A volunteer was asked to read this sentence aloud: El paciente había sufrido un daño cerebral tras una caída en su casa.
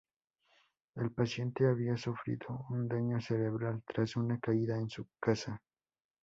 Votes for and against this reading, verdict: 4, 4, rejected